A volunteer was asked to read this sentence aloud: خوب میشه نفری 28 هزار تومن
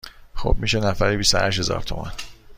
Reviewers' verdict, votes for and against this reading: rejected, 0, 2